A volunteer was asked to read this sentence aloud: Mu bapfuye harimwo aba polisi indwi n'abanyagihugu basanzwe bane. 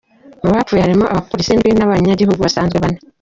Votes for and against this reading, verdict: 0, 2, rejected